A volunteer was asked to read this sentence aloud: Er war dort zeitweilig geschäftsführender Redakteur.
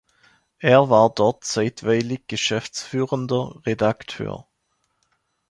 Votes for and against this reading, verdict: 2, 0, accepted